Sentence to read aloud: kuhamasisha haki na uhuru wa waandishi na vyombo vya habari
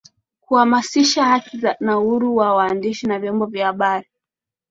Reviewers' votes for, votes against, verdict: 3, 0, accepted